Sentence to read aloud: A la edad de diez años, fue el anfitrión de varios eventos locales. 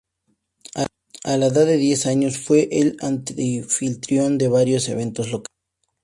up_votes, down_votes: 2, 4